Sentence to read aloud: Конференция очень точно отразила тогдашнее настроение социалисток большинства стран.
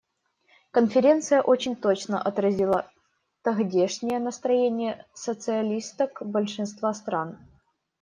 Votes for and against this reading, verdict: 0, 2, rejected